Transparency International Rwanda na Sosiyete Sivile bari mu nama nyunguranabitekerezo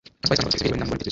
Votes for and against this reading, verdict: 1, 2, rejected